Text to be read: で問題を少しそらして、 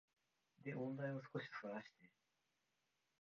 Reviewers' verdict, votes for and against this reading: rejected, 3, 4